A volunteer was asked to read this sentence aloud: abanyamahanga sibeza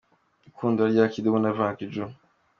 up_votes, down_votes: 0, 2